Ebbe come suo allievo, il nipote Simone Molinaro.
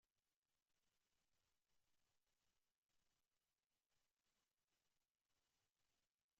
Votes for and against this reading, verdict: 0, 2, rejected